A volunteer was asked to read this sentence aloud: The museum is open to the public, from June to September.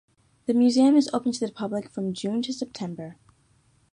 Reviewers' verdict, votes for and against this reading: accepted, 2, 0